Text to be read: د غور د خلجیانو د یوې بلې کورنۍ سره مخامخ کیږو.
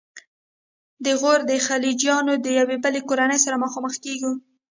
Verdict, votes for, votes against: rejected, 1, 2